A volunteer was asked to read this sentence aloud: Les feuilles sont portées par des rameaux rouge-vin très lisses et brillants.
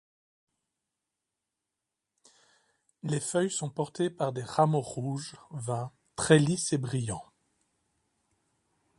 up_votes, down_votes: 1, 2